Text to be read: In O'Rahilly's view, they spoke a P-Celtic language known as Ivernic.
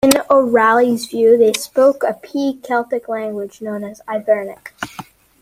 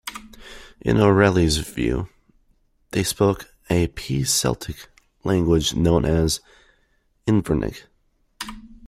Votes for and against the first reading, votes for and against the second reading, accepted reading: 2, 0, 0, 2, first